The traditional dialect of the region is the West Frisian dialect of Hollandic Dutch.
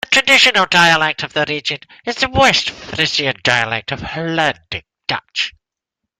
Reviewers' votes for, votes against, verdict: 3, 0, accepted